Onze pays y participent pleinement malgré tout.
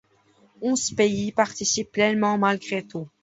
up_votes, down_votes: 1, 2